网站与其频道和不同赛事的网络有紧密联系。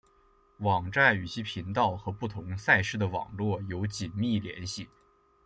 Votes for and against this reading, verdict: 2, 0, accepted